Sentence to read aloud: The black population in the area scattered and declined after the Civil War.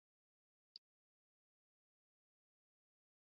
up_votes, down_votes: 0, 2